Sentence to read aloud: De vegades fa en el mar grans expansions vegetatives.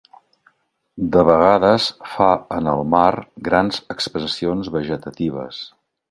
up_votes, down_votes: 0, 2